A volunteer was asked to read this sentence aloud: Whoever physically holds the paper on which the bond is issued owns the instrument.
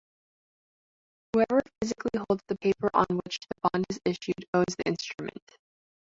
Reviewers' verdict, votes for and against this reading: rejected, 1, 2